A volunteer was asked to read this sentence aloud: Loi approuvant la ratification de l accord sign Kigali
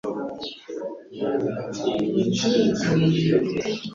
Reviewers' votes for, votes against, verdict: 0, 2, rejected